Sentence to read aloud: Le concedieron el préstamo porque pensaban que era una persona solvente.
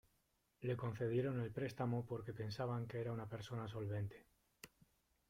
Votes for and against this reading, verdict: 1, 2, rejected